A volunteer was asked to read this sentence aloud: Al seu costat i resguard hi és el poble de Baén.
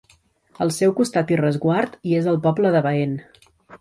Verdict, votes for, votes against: accepted, 2, 0